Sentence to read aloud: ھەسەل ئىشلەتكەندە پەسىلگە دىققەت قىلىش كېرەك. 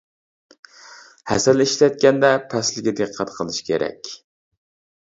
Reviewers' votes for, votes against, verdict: 0, 2, rejected